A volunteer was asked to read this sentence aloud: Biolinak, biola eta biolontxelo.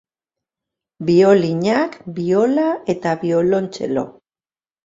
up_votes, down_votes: 2, 0